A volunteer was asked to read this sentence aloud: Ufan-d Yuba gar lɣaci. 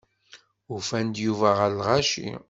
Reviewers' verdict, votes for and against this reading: rejected, 0, 2